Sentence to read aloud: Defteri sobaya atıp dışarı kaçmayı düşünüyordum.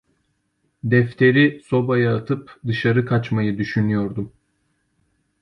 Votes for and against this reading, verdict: 2, 0, accepted